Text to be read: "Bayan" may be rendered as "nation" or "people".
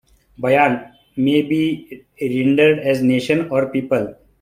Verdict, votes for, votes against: accepted, 2, 0